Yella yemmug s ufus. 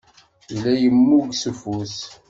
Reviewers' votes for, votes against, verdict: 2, 0, accepted